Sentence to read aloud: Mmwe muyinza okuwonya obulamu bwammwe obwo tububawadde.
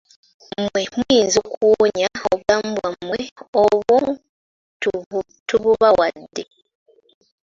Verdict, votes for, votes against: rejected, 0, 3